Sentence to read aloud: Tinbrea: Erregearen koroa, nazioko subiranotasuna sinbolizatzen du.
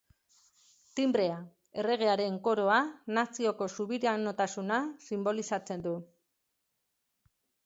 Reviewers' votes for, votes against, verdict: 0, 2, rejected